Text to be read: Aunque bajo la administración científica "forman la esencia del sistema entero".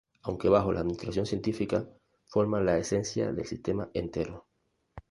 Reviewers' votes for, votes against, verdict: 2, 0, accepted